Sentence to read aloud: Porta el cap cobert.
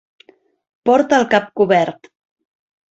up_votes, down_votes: 3, 0